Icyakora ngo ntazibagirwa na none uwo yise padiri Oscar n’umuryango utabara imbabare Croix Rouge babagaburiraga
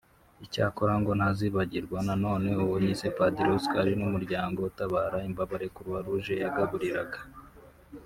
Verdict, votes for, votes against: rejected, 1, 2